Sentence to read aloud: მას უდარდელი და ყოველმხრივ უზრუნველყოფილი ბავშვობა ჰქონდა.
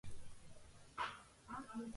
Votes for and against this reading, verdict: 0, 2, rejected